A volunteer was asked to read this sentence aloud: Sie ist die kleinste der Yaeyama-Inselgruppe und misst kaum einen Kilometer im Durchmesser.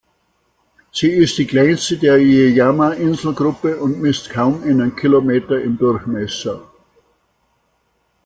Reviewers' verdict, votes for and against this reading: accepted, 2, 0